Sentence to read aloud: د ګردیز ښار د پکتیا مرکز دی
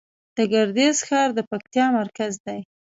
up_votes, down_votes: 1, 2